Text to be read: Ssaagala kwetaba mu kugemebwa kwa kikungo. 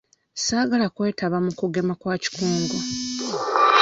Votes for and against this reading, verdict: 0, 2, rejected